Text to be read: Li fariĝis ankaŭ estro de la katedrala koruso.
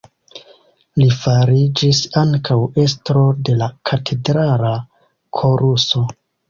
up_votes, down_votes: 1, 2